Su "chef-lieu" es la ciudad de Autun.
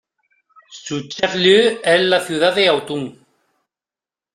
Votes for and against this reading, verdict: 2, 0, accepted